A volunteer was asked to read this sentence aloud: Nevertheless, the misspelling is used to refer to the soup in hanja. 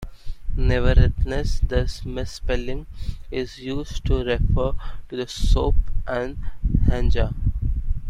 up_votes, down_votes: 1, 2